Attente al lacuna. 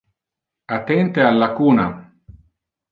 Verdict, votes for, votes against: accepted, 2, 0